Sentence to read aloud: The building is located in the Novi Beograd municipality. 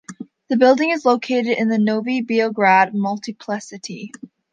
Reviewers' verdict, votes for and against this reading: rejected, 1, 2